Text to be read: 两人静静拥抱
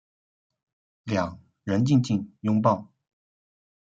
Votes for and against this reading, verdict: 2, 0, accepted